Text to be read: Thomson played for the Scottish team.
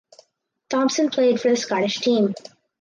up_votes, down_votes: 4, 0